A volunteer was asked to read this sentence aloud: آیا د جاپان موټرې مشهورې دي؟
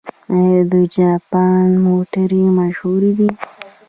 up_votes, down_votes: 2, 0